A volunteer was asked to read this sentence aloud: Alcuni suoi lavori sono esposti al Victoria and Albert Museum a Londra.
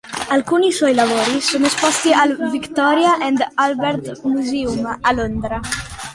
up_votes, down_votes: 2, 0